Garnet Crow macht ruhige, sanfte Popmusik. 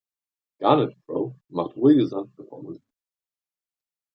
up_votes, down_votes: 1, 2